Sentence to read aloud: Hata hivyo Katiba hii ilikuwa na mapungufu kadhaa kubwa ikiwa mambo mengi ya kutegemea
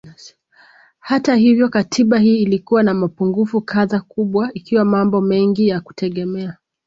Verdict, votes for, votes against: accepted, 2, 1